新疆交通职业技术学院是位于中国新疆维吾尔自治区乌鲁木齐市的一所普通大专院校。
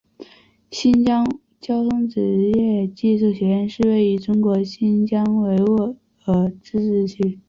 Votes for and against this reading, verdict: 0, 3, rejected